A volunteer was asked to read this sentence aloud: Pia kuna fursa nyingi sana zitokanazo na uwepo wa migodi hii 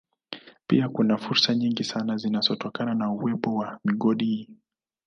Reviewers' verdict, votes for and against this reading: rejected, 0, 2